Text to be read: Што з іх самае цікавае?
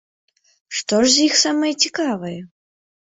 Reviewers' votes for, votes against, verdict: 0, 3, rejected